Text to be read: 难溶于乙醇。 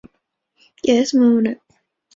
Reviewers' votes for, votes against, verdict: 0, 5, rejected